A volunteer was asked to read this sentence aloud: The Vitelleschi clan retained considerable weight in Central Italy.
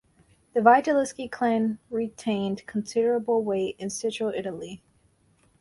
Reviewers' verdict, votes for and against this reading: accepted, 4, 0